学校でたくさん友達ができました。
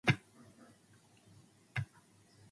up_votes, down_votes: 12, 32